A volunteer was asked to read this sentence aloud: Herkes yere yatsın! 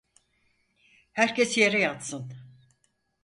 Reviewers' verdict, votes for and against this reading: accepted, 4, 0